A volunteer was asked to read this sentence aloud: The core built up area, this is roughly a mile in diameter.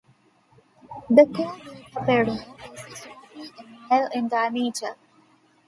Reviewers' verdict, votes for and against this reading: accepted, 2, 0